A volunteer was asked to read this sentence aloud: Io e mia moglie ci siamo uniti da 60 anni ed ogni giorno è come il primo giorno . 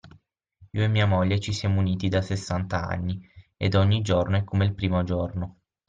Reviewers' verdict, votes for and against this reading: rejected, 0, 2